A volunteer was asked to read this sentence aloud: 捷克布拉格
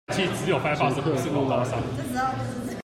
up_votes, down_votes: 0, 2